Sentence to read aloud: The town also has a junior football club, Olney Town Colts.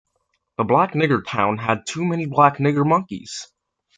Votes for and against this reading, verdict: 0, 2, rejected